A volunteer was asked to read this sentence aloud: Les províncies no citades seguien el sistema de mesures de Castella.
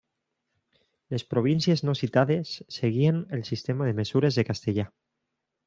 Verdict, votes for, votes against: rejected, 1, 2